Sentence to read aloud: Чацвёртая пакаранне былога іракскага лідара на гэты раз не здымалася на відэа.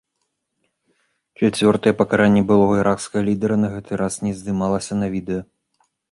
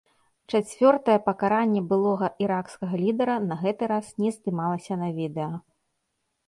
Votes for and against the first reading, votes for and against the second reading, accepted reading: 1, 2, 2, 0, second